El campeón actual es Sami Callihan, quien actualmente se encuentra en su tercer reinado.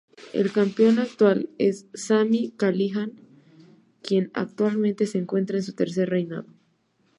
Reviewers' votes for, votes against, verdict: 2, 0, accepted